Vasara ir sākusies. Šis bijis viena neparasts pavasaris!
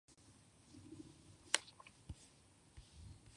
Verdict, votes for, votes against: rejected, 0, 2